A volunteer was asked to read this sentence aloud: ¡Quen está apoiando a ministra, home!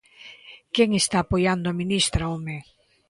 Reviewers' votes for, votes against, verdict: 2, 0, accepted